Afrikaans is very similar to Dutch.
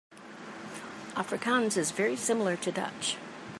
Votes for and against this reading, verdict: 2, 0, accepted